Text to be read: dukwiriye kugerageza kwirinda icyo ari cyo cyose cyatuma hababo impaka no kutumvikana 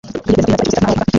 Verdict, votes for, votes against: rejected, 0, 2